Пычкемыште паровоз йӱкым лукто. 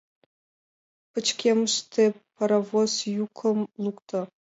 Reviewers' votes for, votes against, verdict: 2, 0, accepted